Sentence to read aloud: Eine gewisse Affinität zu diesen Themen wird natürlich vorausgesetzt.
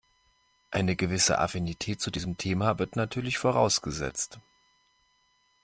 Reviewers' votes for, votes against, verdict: 1, 2, rejected